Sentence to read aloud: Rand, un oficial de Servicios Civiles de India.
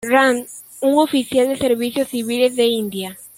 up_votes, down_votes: 2, 1